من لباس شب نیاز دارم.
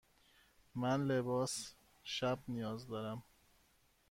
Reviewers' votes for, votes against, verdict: 1, 2, rejected